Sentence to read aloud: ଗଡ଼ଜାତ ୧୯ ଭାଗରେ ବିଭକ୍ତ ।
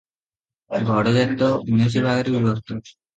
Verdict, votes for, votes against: rejected, 0, 2